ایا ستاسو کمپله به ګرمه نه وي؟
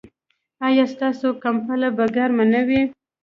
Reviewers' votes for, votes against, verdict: 2, 1, accepted